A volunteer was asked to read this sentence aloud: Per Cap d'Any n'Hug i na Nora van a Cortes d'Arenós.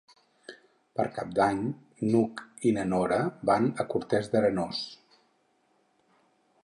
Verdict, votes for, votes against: rejected, 2, 4